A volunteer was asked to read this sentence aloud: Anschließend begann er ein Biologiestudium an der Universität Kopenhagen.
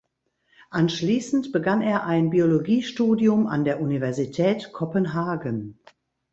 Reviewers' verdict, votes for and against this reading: accepted, 2, 0